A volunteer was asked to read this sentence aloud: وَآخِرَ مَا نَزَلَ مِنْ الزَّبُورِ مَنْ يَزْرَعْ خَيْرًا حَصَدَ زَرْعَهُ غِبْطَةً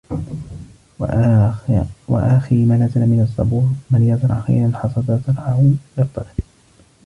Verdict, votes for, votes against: rejected, 0, 2